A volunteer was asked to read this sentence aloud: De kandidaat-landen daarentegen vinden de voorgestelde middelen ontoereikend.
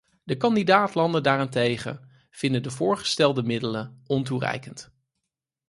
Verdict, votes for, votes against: accepted, 4, 0